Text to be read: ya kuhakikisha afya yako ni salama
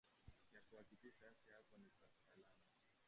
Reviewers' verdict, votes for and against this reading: rejected, 0, 2